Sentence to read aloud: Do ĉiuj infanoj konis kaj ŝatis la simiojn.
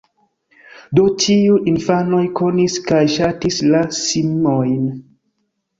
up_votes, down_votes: 1, 2